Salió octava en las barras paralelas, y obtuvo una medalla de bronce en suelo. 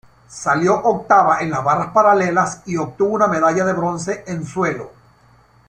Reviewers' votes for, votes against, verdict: 2, 0, accepted